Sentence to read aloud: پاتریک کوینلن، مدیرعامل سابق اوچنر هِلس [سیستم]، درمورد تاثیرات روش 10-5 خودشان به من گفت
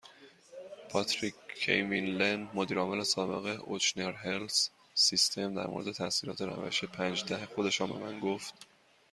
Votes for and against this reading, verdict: 0, 2, rejected